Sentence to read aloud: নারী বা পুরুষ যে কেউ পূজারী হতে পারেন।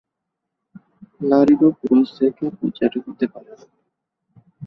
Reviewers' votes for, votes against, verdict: 1, 2, rejected